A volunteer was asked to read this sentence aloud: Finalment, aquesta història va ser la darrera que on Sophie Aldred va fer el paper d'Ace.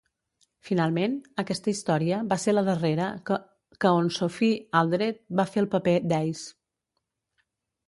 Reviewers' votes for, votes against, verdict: 0, 2, rejected